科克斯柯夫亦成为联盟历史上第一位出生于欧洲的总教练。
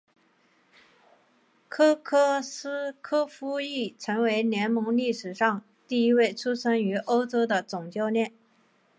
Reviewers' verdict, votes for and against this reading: accepted, 5, 0